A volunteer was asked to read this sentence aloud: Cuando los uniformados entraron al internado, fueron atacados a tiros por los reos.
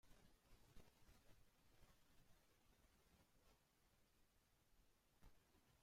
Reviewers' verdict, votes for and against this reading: rejected, 0, 2